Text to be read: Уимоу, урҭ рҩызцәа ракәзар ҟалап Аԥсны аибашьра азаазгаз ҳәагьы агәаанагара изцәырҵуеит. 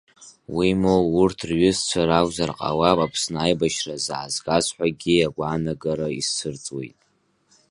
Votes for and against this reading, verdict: 1, 2, rejected